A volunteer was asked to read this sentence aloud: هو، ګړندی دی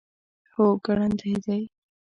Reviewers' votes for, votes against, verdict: 0, 2, rejected